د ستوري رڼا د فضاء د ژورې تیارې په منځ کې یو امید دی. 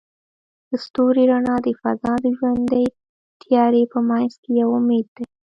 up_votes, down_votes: 2, 0